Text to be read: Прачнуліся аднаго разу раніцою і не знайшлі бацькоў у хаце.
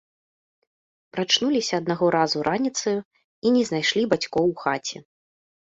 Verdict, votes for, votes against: accepted, 3, 2